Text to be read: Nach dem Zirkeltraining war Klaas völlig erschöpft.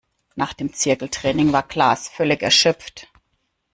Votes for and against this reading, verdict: 1, 2, rejected